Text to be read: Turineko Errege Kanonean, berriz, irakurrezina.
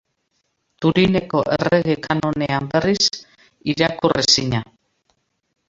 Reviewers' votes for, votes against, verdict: 2, 0, accepted